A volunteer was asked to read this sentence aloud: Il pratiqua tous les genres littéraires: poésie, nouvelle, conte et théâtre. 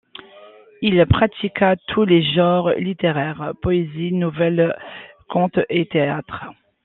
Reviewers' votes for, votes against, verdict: 2, 1, accepted